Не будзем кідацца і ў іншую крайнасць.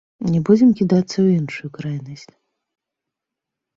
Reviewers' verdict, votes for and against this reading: rejected, 1, 2